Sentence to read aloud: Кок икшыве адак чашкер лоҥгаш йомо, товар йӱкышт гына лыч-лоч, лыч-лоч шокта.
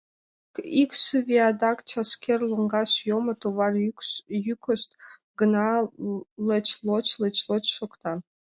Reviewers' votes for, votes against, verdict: 0, 2, rejected